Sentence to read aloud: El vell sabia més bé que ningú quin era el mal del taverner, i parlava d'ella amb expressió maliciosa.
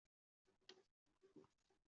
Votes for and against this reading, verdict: 0, 2, rejected